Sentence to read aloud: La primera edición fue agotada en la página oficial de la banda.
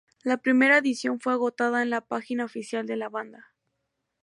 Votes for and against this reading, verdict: 2, 0, accepted